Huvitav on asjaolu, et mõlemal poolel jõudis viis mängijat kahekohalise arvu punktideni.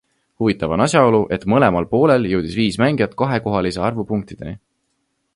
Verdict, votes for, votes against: accepted, 2, 0